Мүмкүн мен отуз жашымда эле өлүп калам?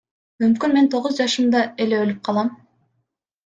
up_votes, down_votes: 0, 2